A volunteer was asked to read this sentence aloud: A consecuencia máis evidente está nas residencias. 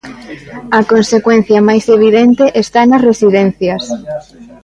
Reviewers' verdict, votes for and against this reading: rejected, 0, 2